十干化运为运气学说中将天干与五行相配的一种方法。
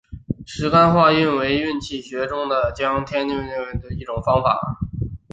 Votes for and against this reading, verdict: 2, 0, accepted